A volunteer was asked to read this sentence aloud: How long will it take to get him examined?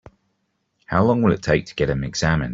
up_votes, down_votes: 2, 0